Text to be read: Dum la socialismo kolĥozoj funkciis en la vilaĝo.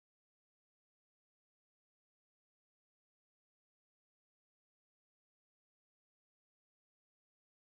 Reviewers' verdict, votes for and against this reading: rejected, 3, 5